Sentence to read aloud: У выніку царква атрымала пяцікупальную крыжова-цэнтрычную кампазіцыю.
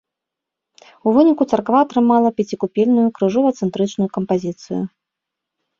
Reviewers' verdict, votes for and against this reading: rejected, 0, 2